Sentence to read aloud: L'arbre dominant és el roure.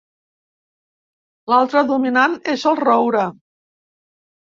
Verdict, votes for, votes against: rejected, 0, 2